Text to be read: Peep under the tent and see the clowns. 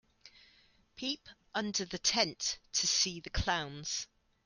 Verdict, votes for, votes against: rejected, 0, 2